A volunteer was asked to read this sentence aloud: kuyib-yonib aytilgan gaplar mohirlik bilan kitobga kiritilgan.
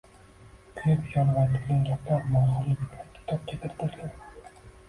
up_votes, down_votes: 1, 2